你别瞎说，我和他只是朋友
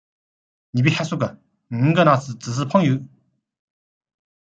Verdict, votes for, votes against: accepted, 2, 0